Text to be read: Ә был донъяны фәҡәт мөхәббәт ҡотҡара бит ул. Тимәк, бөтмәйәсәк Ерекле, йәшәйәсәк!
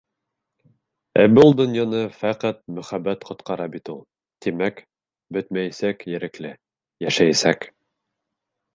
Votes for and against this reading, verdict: 2, 0, accepted